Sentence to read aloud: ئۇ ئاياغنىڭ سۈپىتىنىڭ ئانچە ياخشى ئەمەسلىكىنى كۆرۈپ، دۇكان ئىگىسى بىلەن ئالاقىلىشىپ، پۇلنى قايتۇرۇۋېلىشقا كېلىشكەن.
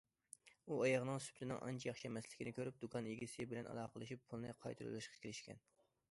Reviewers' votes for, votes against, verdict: 2, 0, accepted